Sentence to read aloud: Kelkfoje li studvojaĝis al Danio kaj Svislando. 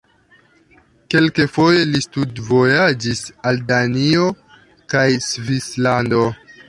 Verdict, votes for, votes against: accepted, 2, 1